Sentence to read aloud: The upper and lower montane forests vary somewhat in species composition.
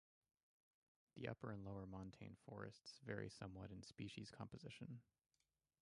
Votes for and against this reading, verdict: 0, 2, rejected